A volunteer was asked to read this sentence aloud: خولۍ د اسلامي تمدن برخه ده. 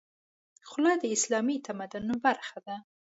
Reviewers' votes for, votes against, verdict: 2, 0, accepted